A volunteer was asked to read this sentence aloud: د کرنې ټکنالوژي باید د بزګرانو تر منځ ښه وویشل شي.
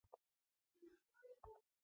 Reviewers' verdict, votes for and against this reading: rejected, 0, 2